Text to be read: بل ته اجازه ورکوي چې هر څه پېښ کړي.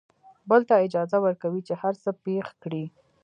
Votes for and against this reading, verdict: 2, 0, accepted